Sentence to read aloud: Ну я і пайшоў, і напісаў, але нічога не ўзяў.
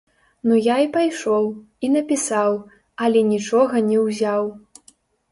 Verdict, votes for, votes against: rejected, 1, 2